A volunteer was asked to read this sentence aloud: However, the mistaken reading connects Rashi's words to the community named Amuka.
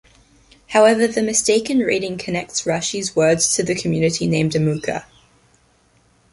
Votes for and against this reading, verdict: 2, 0, accepted